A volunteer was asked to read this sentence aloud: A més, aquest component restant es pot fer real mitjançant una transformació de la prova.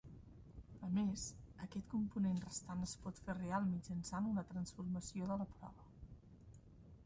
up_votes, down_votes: 0, 2